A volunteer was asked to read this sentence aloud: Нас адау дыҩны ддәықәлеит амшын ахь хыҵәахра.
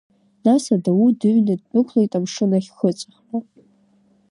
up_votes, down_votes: 0, 2